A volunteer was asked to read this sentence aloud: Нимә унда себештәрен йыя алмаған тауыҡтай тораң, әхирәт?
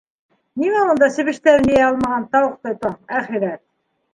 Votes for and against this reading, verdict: 2, 0, accepted